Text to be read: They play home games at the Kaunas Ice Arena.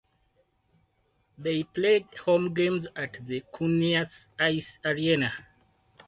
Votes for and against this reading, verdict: 2, 2, rejected